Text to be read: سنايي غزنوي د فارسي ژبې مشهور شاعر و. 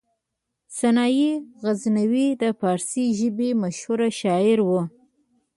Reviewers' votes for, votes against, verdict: 2, 1, accepted